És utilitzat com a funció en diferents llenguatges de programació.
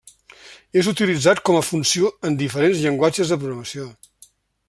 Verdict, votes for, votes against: accepted, 3, 0